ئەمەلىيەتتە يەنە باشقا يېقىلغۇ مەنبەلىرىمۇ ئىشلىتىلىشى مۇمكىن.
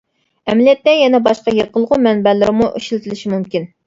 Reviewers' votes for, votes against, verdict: 2, 1, accepted